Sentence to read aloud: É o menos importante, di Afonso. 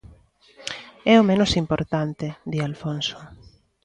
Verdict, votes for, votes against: rejected, 1, 2